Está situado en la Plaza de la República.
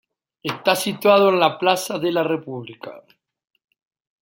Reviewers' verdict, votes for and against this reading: accepted, 2, 0